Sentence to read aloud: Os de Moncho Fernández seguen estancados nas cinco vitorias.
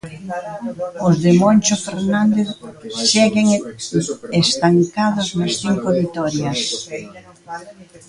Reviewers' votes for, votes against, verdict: 0, 2, rejected